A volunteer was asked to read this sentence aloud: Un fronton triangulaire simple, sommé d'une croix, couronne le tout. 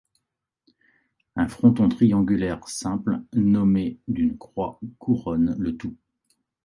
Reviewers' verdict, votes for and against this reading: rejected, 0, 2